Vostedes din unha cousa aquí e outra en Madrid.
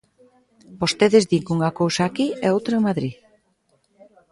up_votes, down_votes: 0, 2